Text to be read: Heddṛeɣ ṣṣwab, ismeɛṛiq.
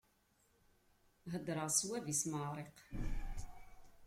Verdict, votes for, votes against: rejected, 1, 2